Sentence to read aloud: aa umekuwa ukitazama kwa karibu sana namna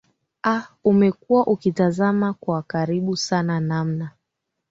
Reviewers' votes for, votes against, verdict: 2, 1, accepted